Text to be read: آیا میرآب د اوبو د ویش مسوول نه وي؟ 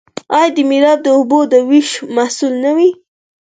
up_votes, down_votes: 4, 0